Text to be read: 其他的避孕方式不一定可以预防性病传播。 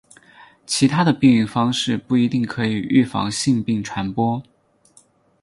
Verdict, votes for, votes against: accepted, 6, 0